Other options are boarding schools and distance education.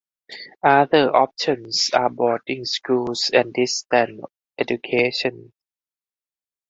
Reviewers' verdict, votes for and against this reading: rejected, 0, 4